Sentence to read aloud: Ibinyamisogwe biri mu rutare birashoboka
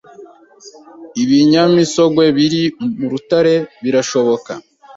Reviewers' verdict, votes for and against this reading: accepted, 2, 0